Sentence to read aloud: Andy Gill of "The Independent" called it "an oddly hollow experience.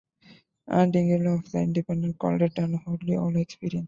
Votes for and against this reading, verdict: 0, 2, rejected